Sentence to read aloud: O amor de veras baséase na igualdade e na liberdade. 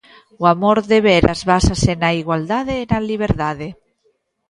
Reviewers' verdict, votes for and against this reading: rejected, 0, 2